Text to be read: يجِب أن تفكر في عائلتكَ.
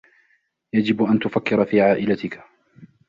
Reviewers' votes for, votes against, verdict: 2, 0, accepted